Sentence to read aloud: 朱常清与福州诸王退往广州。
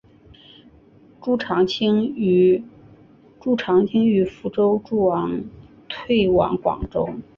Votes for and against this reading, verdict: 1, 2, rejected